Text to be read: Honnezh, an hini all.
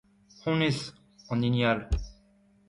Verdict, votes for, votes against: accepted, 2, 0